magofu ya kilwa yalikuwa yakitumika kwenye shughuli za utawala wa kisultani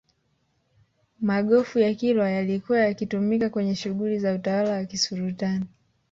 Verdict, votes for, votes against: rejected, 1, 2